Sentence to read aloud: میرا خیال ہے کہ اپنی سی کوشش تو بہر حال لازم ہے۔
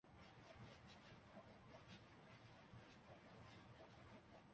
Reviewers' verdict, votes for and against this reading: rejected, 0, 2